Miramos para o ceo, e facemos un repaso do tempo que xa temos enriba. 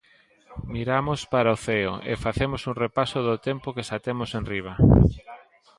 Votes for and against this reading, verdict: 2, 0, accepted